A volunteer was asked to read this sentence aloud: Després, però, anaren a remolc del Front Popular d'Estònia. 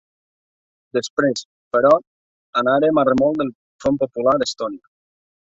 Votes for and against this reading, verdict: 0, 2, rejected